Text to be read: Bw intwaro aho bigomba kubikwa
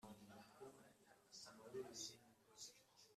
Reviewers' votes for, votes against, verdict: 0, 2, rejected